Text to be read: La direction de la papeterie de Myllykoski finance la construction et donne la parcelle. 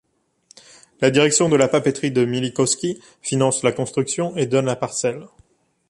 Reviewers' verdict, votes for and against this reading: accepted, 2, 0